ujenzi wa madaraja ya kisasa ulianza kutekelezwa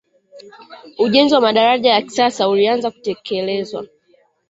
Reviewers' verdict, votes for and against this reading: accepted, 2, 1